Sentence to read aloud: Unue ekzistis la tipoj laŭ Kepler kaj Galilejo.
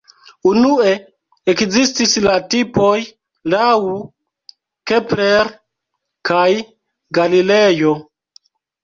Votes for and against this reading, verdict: 0, 2, rejected